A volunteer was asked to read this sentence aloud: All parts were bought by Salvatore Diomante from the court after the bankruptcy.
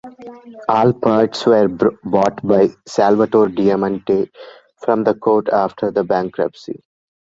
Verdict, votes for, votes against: rejected, 0, 2